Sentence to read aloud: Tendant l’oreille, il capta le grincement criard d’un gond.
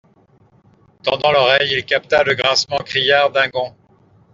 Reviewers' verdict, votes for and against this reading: accepted, 2, 0